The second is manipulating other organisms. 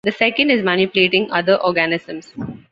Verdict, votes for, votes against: accepted, 2, 0